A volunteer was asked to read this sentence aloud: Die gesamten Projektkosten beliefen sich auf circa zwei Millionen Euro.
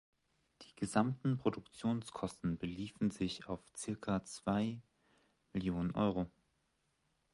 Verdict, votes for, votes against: rejected, 0, 2